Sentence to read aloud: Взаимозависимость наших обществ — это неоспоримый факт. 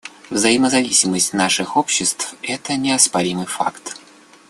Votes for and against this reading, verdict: 2, 0, accepted